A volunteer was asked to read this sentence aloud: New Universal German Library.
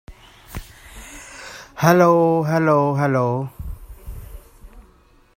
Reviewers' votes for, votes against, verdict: 0, 2, rejected